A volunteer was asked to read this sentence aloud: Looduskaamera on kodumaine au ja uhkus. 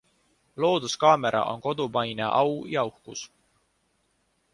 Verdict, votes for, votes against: accepted, 2, 0